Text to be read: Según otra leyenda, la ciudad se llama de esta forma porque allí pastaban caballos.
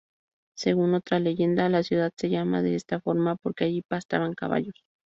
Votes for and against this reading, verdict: 2, 2, rejected